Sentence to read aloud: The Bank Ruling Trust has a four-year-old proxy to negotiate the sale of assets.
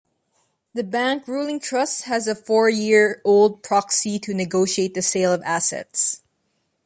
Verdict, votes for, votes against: accepted, 2, 0